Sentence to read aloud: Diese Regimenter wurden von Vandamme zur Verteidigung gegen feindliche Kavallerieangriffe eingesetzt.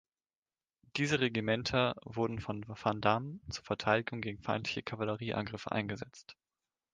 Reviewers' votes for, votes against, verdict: 2, 0, accepted